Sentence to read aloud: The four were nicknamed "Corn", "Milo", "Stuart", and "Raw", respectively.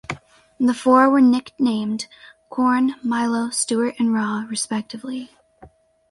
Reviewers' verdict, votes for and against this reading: accepted, 4, 0